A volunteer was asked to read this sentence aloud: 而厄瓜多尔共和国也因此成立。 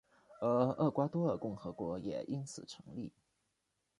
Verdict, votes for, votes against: rejected, 1, 2